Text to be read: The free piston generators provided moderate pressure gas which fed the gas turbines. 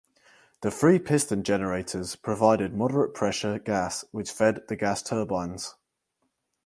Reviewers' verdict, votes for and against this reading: accepted, 4, 0